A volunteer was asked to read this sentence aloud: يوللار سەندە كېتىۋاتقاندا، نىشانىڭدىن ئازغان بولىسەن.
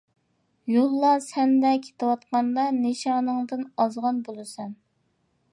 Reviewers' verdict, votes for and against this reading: accepted, 2, 0